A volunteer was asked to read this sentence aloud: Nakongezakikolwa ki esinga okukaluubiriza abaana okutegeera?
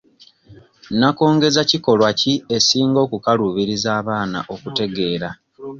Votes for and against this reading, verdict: 2, 0, accepted